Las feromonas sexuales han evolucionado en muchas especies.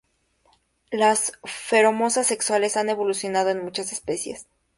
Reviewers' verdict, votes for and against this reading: rejected, 2, 4